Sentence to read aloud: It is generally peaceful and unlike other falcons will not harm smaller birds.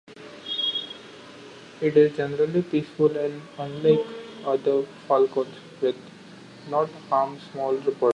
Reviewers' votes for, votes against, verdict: 1, 2, rejected